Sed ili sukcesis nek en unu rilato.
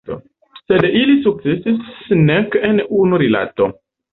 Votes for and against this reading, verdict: 1, 2, rejected